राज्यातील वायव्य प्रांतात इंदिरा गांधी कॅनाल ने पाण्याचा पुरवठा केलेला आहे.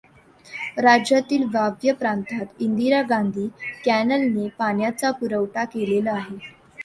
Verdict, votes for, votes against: rejected, 0, 2